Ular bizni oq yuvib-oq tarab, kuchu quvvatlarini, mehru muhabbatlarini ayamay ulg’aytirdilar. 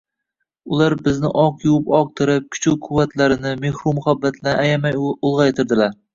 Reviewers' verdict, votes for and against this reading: rejected, 1, 2